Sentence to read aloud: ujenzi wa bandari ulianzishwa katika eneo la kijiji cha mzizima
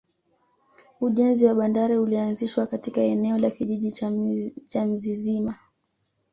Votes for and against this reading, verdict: 2, 0, accepted